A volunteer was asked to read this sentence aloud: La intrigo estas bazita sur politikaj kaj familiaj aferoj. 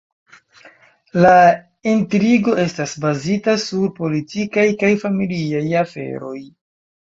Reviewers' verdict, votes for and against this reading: accepted, 2, 1